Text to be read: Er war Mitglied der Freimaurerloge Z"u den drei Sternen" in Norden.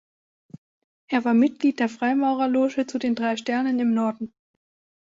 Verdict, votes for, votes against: rejected, 1, 2